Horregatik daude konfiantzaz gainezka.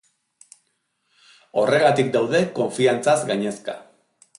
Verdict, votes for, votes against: accepted, 5, 0